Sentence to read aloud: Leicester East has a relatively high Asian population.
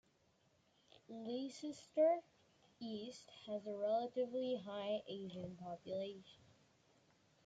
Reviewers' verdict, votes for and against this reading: rejected, 1, 2